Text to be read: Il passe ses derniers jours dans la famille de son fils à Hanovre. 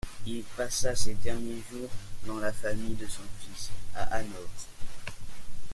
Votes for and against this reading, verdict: 0, 4, rejected